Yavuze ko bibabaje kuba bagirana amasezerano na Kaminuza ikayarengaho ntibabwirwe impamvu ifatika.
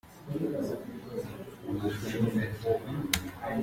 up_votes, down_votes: 0, 2